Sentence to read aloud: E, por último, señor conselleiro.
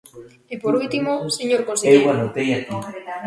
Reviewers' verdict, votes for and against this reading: rejected, 0, 2